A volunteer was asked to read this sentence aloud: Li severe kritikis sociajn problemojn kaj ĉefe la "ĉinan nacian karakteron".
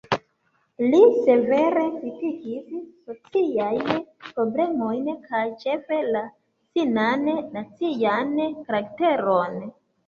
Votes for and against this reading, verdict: 0, 2, rejected